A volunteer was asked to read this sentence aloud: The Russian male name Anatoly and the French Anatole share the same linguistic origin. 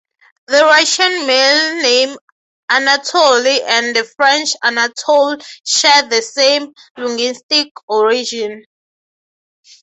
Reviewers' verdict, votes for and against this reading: accepted, 6, 0